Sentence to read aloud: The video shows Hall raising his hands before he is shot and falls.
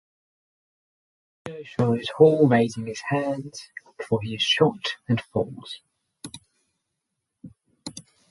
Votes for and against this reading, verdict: 0, 6, rejected